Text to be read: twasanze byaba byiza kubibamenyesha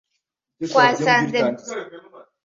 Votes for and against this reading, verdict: 0, 2, rejected